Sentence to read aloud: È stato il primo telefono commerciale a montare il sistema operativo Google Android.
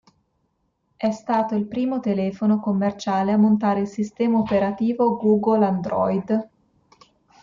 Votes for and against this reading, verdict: 2, 0, accepted